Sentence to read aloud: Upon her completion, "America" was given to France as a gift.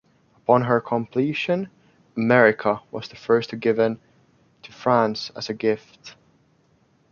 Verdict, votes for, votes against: rejected, 0, 2